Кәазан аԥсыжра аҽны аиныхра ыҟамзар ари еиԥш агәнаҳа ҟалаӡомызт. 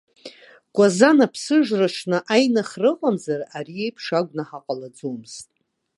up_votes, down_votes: 2, 0